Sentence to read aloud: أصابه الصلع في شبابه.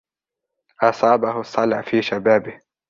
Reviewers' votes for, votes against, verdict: 2, 0, accepted